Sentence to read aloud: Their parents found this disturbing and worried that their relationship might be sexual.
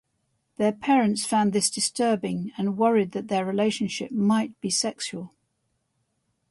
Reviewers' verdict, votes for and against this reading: rejected, 2, 2